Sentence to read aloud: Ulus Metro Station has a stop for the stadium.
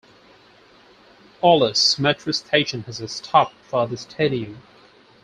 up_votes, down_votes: 4, 0